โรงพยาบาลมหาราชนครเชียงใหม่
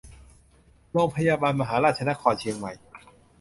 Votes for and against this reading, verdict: 0, 2, rejected